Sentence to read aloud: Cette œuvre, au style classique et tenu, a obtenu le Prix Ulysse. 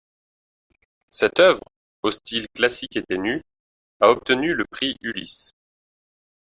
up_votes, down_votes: 2, 0